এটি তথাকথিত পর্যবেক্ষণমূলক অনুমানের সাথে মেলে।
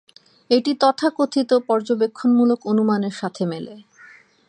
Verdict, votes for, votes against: accepted, 2, 0